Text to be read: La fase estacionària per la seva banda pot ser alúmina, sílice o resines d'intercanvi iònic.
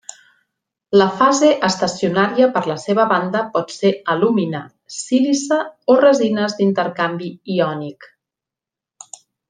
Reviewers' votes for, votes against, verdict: 2, 0, accepted